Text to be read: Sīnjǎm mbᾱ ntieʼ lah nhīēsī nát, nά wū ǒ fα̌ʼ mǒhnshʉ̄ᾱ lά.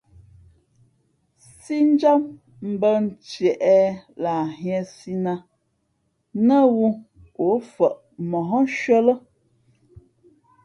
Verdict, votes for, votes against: accepted, 2, 0